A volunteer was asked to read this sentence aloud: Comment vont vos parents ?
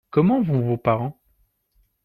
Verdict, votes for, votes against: accepted, 2, 0